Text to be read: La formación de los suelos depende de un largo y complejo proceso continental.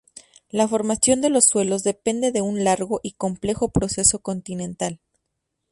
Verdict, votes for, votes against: accepted, 2, 0